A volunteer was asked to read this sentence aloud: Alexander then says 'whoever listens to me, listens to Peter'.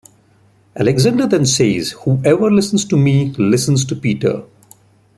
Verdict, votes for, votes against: rejected, 0, 2